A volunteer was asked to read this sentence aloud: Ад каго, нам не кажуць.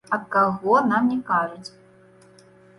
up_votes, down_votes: 1, 2